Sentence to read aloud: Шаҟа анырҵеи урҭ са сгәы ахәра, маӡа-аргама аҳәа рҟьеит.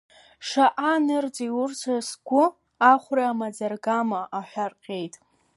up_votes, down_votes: 2, 0